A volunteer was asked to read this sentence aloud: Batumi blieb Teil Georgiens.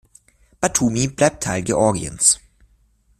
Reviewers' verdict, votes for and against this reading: accepted, 2, 0